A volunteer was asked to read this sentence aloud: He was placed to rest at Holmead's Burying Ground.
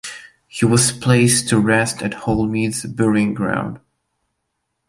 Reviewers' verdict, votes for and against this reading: accepted, 2, 0